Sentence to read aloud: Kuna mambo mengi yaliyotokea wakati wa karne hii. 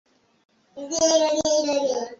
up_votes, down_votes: 3, 3